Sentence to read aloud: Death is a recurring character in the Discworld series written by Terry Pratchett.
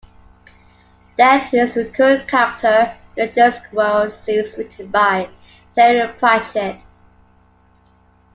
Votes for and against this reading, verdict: 0, 2, rejected